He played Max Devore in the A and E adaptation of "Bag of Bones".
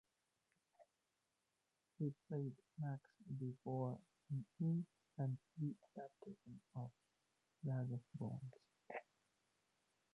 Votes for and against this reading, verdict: 0, 2, rejected